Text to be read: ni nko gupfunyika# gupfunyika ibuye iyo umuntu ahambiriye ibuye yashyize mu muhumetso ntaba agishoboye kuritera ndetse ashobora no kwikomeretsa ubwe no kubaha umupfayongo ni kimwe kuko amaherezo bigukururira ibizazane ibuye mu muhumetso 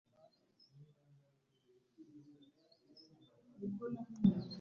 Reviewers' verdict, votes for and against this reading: rejected, 0, 2